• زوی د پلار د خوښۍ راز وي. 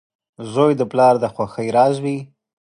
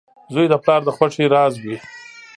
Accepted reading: first